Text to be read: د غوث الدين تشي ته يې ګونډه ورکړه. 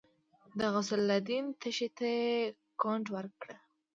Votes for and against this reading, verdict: 1, 2, rejected